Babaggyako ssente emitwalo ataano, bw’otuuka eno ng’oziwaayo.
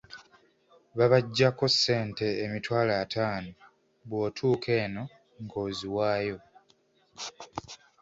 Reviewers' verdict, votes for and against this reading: accepted, 2, 0